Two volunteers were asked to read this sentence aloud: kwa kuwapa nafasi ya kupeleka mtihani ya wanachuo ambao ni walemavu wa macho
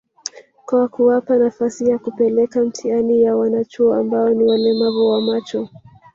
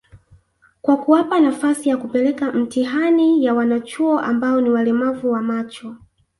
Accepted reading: second